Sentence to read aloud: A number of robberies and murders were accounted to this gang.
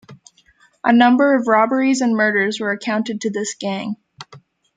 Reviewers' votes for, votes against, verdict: 2, 1, accepted